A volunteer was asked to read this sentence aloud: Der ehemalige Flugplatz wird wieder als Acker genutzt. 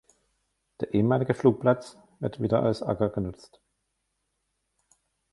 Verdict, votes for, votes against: rejected, 1, 2